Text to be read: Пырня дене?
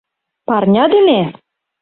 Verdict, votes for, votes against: rejected, 0, 2